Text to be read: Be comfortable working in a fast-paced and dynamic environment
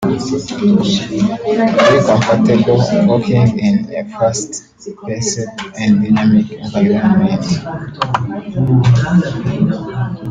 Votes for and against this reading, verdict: 0, 2, rejected